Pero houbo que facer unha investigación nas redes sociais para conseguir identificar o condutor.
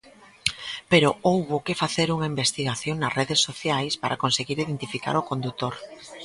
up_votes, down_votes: 2, 0